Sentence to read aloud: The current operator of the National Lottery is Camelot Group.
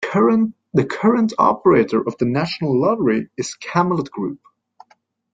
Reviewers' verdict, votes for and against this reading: rejected, 0, 2